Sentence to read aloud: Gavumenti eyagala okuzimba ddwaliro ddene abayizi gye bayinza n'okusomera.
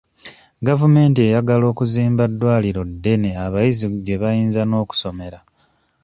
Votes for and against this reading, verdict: 2, 0, accepted